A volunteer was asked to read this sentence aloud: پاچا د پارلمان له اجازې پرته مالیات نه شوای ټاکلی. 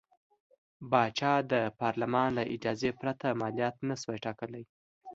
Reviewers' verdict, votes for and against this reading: accepted, 2, 0